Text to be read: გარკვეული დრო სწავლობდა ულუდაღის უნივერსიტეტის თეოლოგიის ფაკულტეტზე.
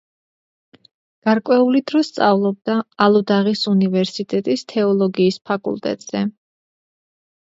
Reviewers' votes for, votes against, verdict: 1, 2, rejected